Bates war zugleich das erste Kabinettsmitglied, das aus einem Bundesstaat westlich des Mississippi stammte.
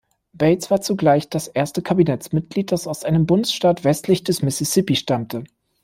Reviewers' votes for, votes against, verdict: 2, 0, accepted